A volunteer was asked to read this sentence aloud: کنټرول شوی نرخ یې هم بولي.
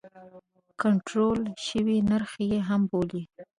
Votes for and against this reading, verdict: 0, 2, rejected